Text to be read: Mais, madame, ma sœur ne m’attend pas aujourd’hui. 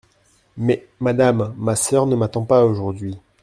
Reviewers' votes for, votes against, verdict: 2, 0, accepted